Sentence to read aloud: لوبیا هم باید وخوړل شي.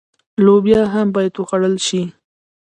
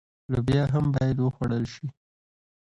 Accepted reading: second